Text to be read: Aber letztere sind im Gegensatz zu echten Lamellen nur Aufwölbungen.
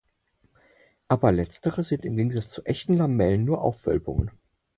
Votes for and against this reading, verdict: 4, 0, accepted